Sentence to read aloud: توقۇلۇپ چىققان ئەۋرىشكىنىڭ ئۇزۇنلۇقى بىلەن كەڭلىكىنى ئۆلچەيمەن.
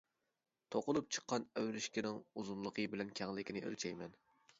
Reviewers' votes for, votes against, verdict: 2, 0, accepted